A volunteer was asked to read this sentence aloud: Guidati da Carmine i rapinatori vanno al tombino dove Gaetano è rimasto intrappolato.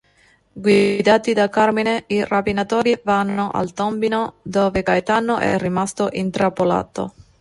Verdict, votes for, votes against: rejected, 0, 2